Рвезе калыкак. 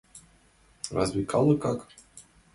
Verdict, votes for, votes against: rejected, 2, 4